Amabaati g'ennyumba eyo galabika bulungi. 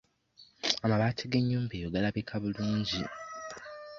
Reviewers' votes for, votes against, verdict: 2, 0, accepted